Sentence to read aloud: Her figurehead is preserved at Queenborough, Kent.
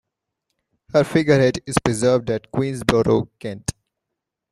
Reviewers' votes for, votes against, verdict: 0, 2, rejected